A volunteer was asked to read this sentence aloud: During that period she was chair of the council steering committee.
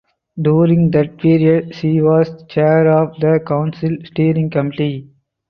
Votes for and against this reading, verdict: 0, 4, rejected